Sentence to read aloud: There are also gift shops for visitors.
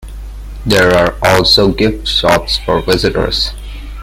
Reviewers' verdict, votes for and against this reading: accepted, 2, 0